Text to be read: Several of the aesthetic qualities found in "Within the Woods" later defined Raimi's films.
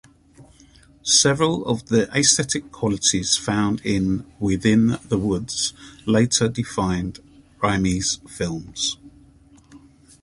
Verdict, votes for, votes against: rejected, 0, 2